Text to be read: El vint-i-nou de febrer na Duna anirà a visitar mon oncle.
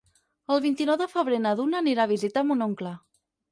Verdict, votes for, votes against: accepted, 4, 0